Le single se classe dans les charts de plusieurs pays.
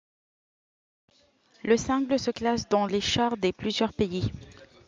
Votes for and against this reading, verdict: 1, 2, rejected